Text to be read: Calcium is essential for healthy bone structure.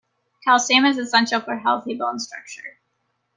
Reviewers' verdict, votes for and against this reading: accepted, 2, 0